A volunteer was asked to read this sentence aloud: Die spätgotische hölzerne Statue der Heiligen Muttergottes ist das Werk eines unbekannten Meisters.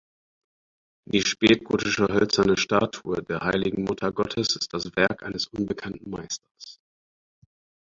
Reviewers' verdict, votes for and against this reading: accepted, 4, 0